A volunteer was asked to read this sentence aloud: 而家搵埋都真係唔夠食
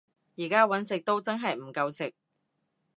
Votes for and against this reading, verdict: 0, 3, rejected